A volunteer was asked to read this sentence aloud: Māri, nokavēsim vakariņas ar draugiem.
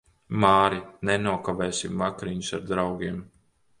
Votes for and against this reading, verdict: 1, 4, rejected